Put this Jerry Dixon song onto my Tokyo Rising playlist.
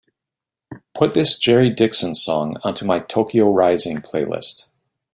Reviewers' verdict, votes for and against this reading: accepted, 2, 0